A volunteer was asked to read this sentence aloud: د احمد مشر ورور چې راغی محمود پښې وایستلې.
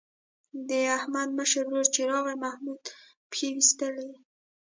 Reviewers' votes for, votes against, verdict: 1, 2, rejected